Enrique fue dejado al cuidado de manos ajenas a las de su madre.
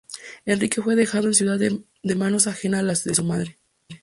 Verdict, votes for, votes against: rejected, 0, 2